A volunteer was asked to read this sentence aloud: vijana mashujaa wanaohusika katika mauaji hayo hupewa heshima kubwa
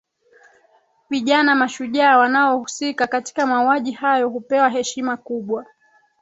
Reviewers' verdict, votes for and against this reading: rejected, 2, 4